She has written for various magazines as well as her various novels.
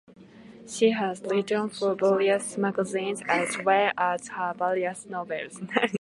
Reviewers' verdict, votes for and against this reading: accepted, 2, 0